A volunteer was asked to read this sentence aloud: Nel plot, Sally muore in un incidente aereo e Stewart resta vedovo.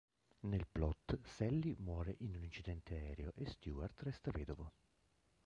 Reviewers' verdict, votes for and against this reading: rejected, 0, 2